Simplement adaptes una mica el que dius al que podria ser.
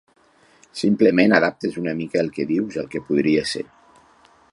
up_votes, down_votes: 3, 0